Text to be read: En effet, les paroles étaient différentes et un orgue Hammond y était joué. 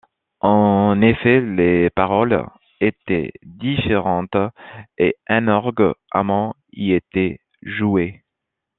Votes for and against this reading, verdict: 2, 0, accepted